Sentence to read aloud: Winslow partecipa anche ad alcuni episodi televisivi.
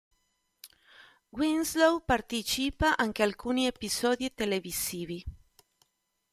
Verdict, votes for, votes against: rejected, 0, 2